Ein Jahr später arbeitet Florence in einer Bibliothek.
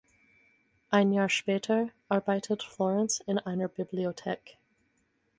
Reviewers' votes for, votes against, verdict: 4, 2, accepted